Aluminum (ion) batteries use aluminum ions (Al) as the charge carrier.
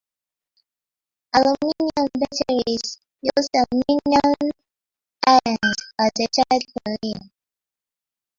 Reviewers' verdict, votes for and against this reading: rejected, 1, 2